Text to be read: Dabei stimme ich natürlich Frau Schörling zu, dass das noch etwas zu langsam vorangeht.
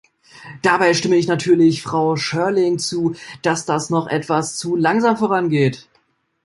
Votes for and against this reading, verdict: 2, 0, accepted